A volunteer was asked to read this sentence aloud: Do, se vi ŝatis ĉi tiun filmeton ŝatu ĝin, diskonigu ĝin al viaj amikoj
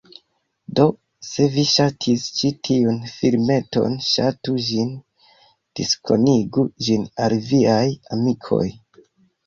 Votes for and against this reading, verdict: 2, 0, accepted